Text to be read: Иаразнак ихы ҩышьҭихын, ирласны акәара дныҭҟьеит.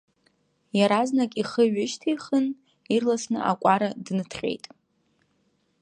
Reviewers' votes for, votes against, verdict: 2, 0, accepted